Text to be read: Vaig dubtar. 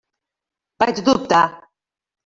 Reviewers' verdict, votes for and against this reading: accepted, 3, 0